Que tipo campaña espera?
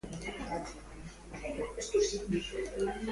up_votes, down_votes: 0, 2